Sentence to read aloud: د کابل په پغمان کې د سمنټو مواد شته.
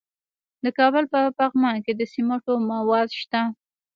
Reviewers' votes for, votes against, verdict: 0, 2, rejected